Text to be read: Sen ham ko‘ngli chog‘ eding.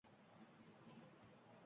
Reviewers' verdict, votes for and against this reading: rejected, 0, 2